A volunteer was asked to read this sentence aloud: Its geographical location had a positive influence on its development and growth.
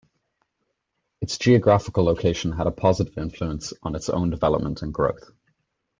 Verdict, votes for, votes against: rejected, 1, 2